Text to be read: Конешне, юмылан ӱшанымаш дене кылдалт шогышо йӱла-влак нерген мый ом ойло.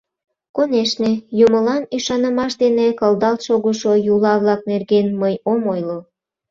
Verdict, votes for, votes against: rejected, 0, 2